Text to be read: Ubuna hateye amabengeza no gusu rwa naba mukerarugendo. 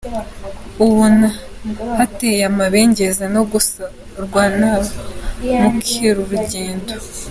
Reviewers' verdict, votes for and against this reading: rejected, 1, 2